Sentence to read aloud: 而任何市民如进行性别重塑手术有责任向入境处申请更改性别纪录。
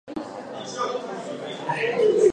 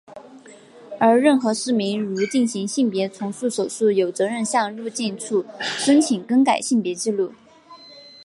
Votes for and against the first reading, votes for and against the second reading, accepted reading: 0, 2, 2, 1, second